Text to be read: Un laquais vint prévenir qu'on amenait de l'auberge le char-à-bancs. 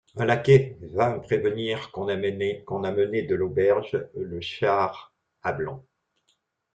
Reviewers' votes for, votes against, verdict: 0, 2, rejected